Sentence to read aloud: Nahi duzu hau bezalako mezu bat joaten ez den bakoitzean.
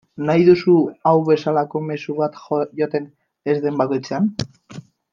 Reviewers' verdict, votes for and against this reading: rejected, 0, 2